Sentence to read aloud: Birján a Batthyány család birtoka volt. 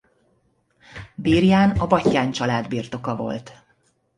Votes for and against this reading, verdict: 0, 2, rejected